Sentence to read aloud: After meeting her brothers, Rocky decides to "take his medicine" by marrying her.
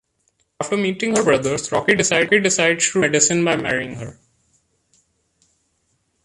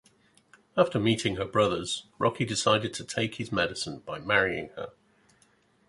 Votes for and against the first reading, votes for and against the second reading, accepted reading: 0, 2, 2, 1, second